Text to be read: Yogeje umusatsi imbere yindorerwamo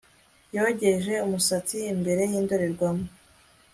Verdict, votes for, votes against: accepted, 2, 0